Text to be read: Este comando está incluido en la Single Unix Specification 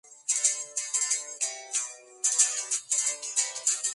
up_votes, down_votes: 0, 2